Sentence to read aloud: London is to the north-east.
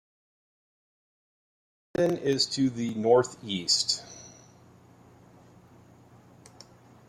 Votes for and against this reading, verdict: 1, 2, rejected